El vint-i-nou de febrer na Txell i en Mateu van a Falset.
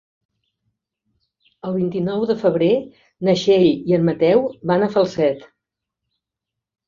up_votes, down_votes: 4, 0